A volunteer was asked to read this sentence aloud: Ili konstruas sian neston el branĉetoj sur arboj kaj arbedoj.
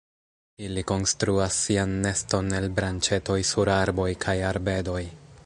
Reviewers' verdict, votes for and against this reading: rejected, 1, 2